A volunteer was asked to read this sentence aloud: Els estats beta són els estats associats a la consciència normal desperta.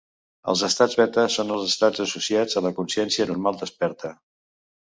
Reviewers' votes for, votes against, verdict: 2, 0, accepted